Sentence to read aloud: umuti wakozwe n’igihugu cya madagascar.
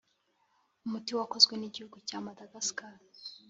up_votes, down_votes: 2, 0